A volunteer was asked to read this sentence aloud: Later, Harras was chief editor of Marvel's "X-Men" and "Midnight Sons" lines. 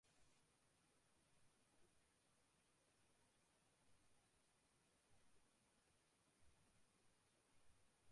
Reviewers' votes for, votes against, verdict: 0, 2, rejected